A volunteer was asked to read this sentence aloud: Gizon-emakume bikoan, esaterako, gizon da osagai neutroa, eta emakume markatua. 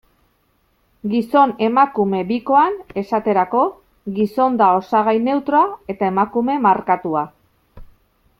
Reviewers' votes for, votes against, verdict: 2, 0, accepted